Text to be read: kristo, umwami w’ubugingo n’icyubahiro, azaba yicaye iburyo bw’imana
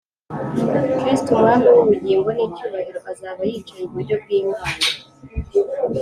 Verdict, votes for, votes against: accepted, 2, 0